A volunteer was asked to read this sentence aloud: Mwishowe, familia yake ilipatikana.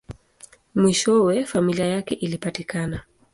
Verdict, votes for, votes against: accepted, 2, 0